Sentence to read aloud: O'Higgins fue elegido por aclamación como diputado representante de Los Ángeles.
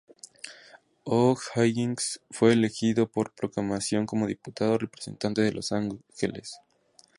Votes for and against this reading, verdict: 0, 2, rejected